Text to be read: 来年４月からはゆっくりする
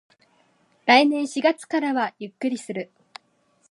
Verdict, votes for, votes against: rejected, 0, 2